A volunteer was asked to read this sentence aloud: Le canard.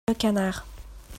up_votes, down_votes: 1, 2